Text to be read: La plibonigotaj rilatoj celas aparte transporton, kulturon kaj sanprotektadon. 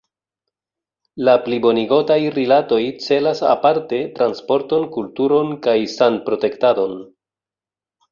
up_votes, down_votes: 1, 2